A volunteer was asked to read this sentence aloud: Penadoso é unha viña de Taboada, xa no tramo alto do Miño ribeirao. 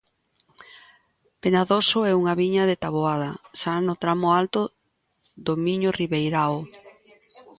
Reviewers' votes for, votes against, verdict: 2, 0, accepted